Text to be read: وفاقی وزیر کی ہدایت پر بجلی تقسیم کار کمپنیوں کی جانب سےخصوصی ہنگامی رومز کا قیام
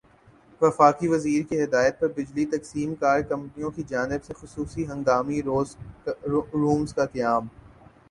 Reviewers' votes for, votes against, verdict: 4, 2, accepted